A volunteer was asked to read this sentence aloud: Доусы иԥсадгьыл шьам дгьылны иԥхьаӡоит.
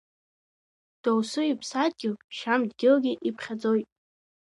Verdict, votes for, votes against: rejected, 0, 2